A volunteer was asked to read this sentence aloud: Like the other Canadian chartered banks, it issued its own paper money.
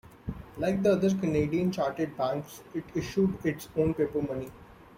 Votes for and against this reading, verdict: 2, 0, accepted